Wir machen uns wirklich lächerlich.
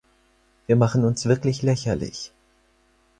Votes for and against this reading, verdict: 4, 0, accepted